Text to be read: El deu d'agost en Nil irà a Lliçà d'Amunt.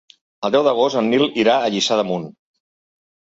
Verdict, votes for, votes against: accepted, 2, 0